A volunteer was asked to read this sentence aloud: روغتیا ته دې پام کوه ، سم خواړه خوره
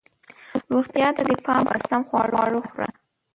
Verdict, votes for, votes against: rejected, 0, 2